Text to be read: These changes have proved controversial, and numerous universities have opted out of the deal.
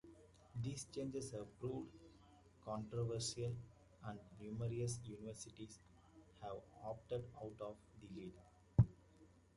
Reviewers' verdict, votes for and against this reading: rejected, 1, 2